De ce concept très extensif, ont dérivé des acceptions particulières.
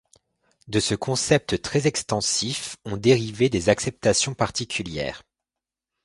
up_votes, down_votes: 1, 2